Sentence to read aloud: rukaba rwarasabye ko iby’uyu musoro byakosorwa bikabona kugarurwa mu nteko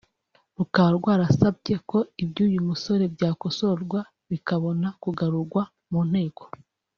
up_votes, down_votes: 0, 2